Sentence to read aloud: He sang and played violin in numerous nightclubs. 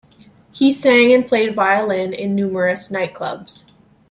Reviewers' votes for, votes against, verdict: 2, 0, accepted